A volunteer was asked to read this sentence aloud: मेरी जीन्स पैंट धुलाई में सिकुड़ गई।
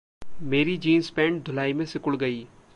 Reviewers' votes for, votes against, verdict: 2, 0, accepted